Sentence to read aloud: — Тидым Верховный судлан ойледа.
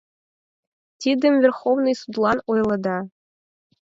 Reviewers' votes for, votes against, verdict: 4, 0, accepted